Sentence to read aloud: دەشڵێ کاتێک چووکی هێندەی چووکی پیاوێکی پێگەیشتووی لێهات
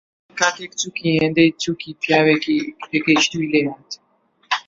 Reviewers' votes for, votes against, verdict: 0, 2, rejected